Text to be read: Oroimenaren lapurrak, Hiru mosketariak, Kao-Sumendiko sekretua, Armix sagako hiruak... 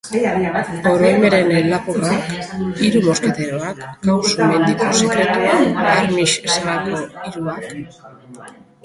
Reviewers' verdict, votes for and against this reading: rejected, 0, 3